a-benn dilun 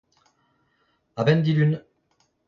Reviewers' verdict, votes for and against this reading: rejected, 0, 2